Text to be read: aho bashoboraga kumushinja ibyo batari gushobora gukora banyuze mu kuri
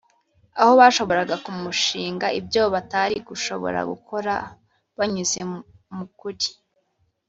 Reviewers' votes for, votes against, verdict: 1, 2, rejected